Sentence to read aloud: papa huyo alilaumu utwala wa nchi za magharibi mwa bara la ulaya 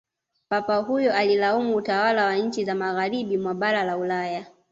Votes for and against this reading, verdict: 2, 0, accepted